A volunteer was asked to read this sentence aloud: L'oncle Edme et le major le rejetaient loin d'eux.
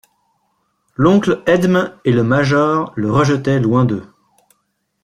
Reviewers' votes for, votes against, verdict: 2, 1, accepted